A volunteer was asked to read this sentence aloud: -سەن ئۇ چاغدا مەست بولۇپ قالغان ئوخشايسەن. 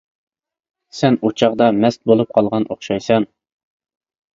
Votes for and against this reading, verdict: 2, 0, accepted